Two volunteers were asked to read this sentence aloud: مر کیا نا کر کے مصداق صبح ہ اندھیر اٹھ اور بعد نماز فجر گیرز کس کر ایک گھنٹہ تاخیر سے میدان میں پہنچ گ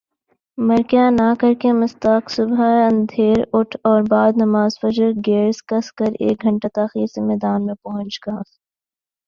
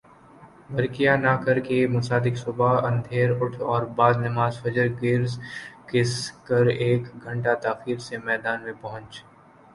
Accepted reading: first